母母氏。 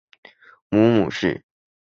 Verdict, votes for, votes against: accepted, 3, 1